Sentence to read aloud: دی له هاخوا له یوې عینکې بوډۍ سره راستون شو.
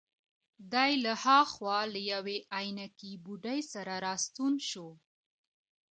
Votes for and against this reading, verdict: 1, 2, rejected